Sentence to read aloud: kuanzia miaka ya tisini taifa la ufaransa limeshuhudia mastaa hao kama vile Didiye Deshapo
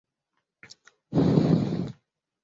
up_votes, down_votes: 0, 2